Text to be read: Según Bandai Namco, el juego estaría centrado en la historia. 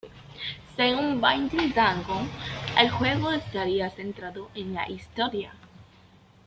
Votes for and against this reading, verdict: 1, 2, rejected